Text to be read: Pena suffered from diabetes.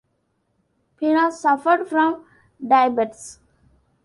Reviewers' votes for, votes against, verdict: 0, 2, rejected